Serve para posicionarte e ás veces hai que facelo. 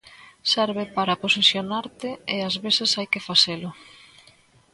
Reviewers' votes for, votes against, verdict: 2, 0, accepted